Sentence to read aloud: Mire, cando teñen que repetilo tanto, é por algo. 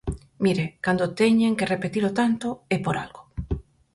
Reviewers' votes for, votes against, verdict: 4, 0, accepted